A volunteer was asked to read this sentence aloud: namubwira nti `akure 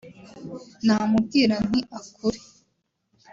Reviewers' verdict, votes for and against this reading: accepted, 2, 0